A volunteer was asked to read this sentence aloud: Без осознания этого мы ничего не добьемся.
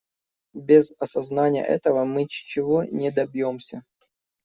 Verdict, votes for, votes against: rejected, 0, 2